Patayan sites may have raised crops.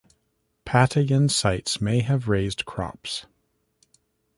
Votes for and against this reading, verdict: 2, 0, accepted